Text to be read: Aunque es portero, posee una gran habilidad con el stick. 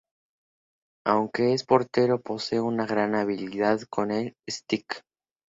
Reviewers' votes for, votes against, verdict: 2, 0, accepted